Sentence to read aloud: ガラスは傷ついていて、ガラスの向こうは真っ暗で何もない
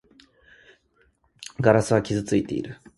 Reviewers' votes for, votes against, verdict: 0, 2, rejected